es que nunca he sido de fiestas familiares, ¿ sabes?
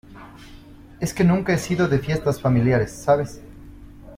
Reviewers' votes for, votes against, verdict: 2, 0, accepted